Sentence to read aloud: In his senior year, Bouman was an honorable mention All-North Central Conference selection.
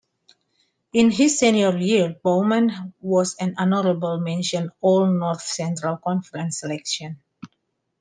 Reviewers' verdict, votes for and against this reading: accepted, 2, 1